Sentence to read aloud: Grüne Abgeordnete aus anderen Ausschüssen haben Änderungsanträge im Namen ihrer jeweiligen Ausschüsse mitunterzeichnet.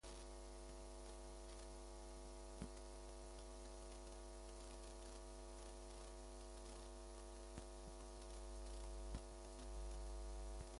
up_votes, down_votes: 0, 2